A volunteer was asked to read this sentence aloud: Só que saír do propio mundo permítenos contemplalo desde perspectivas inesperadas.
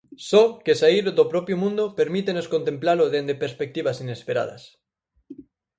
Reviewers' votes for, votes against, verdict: 0, 4, rejected